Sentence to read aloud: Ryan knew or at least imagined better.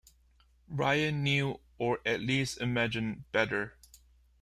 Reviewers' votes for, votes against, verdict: 1, 2, rejected